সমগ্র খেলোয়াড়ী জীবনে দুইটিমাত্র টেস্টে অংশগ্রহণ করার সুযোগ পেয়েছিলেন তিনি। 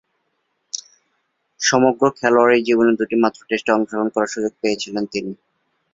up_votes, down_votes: 4, 0